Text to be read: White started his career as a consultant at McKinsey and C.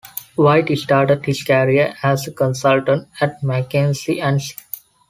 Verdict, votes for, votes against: rejected, 0, 2